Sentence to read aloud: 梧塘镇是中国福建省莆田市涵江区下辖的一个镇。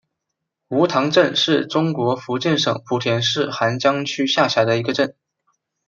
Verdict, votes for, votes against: accepted, 2, 0